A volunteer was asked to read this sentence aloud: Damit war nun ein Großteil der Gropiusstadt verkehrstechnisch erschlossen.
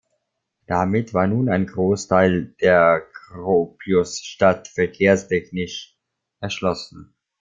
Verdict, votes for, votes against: rejected, 0, 2